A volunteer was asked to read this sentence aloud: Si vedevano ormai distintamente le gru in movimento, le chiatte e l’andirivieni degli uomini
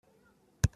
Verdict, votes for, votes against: rejected, 0, 2